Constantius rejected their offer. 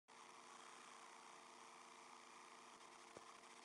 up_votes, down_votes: 0, 2